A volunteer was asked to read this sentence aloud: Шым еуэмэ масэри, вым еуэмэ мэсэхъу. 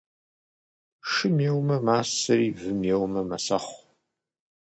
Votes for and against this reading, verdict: 2, 0, accepted